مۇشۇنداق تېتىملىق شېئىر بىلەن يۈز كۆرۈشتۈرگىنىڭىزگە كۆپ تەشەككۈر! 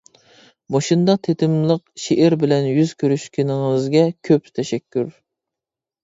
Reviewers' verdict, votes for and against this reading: rejected, 0, 2